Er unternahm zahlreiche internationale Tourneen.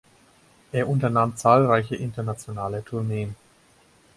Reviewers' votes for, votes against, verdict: 4, 0, accepted